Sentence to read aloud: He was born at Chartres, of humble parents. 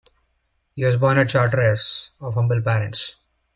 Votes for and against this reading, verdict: 0, 2, rejected